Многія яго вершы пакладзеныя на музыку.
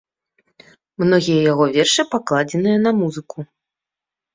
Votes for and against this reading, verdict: 2, 0, accepted